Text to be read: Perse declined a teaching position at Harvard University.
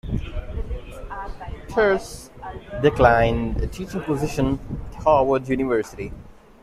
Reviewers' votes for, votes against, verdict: 1, 2, rejected